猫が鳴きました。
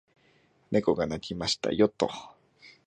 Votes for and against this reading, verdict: 0, 2, rejected